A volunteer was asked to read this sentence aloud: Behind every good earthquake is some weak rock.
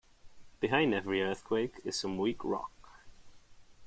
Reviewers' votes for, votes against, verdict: 0, 3, rejected